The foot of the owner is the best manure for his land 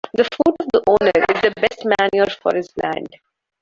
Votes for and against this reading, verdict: 1, 2, rejected